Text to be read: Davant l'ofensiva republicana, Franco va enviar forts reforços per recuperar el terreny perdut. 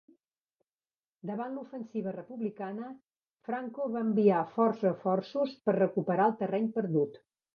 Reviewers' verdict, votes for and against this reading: rejected, 1, 2